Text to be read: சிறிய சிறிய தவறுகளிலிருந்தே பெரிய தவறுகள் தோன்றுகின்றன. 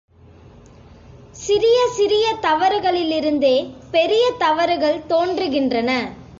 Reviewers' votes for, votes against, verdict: 2, 0, accepted